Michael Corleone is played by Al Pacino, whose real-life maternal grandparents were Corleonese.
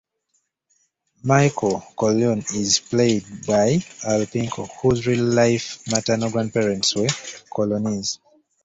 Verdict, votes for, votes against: rejected, 1, 2